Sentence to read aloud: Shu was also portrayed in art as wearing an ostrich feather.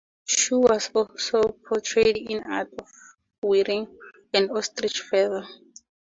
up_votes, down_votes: 2, 2